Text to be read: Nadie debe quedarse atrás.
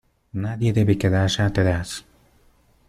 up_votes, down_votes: 2, 0